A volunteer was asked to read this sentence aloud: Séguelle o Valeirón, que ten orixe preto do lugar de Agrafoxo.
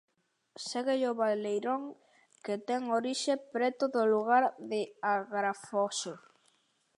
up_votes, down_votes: 2, 0